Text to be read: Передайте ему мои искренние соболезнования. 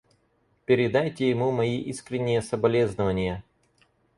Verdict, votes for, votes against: accepted, 4, 0